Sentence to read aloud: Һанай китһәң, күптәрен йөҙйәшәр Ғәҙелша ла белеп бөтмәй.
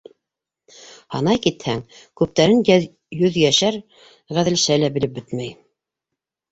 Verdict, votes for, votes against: rejected, 2, 3